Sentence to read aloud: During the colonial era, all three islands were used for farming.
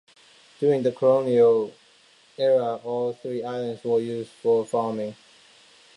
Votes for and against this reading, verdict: 2, 0, accepted